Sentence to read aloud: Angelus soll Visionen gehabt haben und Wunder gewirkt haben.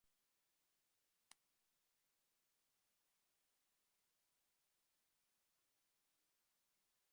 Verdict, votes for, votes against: rejected, 0, 2